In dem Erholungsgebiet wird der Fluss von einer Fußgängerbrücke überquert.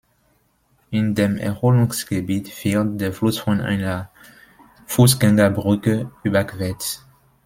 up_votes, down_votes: 1, 2